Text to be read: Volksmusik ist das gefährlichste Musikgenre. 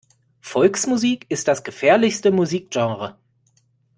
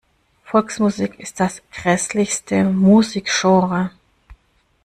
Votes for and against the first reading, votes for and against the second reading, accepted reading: 2, 0, 0, 2, first